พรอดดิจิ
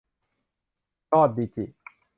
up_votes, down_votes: 2, 0